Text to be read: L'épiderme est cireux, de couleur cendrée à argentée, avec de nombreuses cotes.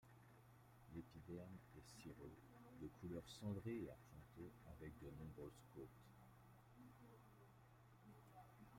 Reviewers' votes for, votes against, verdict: 0, 2, rejected